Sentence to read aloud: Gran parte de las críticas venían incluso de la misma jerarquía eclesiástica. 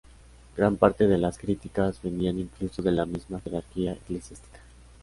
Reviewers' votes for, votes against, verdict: 2, 1, accepted